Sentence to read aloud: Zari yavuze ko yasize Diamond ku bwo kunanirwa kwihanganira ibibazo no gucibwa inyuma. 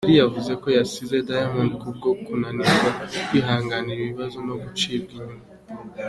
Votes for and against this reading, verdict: 2, 0, accepted